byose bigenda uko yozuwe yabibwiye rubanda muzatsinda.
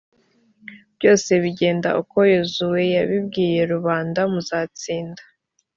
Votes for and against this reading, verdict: 2, 0, accepted